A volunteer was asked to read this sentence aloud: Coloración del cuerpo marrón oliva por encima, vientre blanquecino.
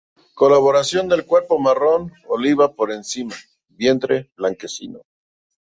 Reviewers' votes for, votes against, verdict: 1, 2, rejected